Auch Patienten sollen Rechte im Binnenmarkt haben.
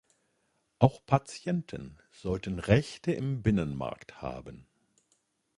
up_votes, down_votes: 0, 2